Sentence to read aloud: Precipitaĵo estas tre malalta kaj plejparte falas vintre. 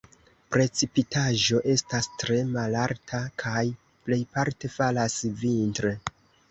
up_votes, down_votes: 1, 2